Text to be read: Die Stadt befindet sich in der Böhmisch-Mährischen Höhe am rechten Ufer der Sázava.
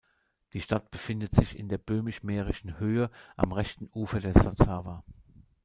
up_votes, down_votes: 0, 2